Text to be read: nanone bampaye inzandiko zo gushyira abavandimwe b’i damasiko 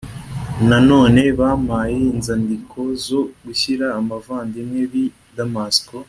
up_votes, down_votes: 2, 0